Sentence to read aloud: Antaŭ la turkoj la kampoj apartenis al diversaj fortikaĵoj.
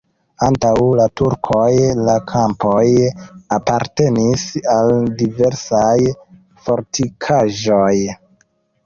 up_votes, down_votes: 2, 1